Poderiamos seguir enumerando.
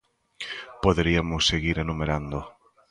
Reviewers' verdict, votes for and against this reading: accepted, 2, 1